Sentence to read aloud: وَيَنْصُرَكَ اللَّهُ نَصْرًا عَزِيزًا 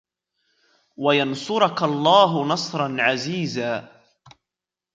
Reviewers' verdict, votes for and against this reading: accepted, 2, 0